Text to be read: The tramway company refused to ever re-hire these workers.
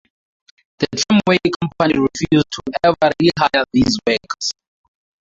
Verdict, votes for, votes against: rejected, 0, 2